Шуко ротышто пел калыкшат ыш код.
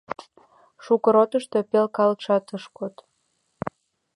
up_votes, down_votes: 2, 0